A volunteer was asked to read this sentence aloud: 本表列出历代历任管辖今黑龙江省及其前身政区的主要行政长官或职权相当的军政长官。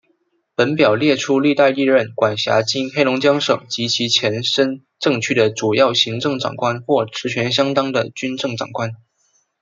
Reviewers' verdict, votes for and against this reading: accepted, 2, 0